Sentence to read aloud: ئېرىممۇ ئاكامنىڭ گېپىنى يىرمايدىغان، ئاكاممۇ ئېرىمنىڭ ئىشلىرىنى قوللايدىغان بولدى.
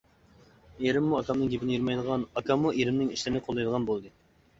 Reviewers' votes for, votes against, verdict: 2, 0, accepted